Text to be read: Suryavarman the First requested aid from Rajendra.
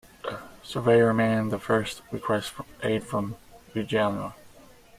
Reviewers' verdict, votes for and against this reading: accepted, 2, 1